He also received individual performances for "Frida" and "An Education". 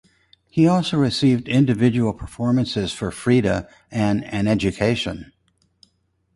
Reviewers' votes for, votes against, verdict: 2, 2, rejected